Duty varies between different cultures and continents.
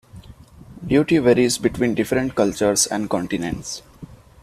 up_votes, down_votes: 2, 0